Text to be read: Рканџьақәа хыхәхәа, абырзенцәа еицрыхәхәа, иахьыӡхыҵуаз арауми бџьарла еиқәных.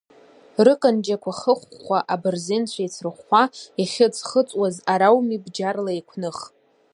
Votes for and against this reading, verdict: 1, 2, rejected